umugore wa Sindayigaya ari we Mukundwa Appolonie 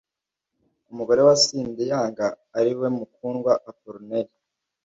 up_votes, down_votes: 1, 2